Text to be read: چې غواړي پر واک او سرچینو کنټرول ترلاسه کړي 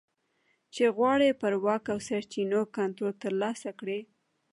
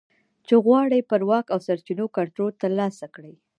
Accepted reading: first